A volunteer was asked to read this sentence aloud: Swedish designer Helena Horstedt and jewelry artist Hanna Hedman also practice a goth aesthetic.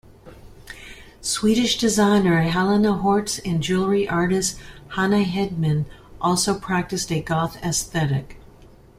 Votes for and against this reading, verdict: 2, 1, accepted